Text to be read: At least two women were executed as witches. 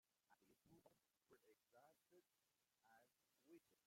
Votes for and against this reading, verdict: 0, 2, rejected